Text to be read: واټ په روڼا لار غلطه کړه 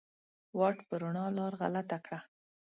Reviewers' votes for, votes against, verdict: 6, 0, accepted